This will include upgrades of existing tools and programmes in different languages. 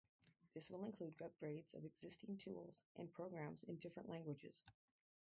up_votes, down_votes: 0, 2